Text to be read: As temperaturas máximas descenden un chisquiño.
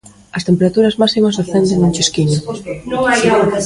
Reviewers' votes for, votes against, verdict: 1, 2, rejected